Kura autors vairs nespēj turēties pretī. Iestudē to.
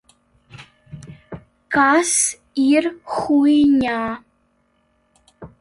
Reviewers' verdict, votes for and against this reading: rejected, 0, 2